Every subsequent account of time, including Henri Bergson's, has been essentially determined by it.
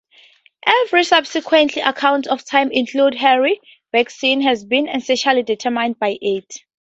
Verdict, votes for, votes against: rejected, 0, 2